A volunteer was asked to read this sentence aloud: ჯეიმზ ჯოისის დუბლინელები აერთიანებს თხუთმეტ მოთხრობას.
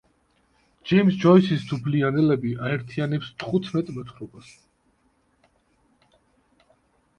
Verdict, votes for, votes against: rejected, 0, 2